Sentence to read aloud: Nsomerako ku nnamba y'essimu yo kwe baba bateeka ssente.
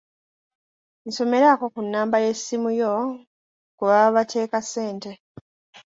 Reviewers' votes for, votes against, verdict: 3, 1, accepted